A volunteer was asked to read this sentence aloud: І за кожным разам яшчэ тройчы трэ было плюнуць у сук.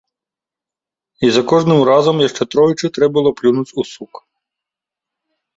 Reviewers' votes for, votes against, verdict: 2, 0, accepted